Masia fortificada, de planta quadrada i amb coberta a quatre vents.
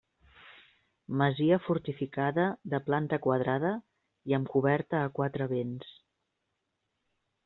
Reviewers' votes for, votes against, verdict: 4, 0, accepted